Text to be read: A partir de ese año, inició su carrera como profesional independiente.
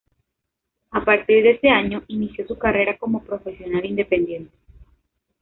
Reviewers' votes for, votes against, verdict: 2, 0, accepted